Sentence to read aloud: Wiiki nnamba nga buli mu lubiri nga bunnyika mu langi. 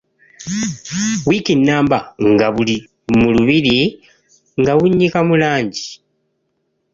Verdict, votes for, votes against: accepted, 3, 2